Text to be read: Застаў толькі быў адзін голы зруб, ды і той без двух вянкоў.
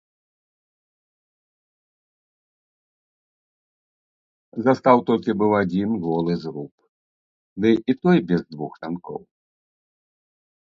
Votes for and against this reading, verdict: 0, 2, rejected